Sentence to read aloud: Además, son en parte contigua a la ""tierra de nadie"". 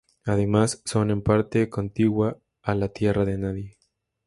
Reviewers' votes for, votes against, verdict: 2, 0, accepted